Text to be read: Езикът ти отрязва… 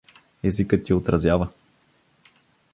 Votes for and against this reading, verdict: 0, 2, rejected